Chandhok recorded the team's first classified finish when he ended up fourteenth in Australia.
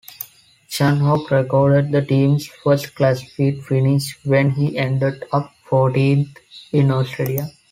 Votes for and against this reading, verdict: 1, 2, rejected